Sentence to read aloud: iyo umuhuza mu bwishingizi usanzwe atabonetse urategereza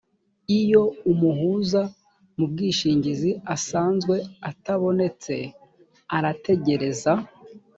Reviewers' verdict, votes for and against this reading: rejected, 1, 2